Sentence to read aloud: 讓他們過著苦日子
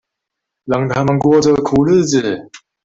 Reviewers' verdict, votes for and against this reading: rejected, 1, 2